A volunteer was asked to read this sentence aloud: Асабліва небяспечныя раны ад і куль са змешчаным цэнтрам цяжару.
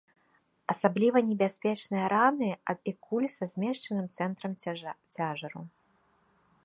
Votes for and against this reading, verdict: 0, 2, rejected